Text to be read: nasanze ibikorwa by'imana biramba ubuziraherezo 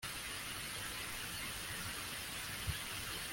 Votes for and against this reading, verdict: 0, 2, rejected